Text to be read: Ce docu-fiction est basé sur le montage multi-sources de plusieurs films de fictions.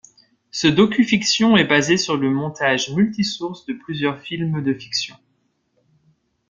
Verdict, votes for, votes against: accepted, 3, 0